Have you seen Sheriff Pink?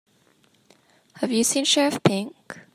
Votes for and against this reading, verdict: 2, 0, accepted